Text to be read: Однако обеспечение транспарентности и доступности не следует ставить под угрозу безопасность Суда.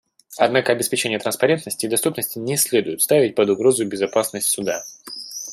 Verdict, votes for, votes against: accepted, 2, 0